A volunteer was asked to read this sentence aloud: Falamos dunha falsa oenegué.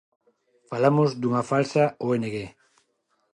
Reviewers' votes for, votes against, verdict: 2, 0, accepted